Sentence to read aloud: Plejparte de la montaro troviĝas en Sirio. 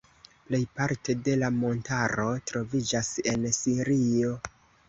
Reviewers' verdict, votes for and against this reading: accepted, 2, 1